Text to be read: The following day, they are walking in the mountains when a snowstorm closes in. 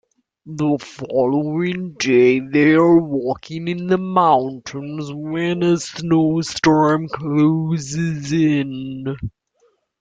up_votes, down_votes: 1, 2